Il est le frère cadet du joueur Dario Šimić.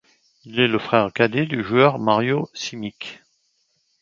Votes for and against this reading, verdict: 0, 2, rejected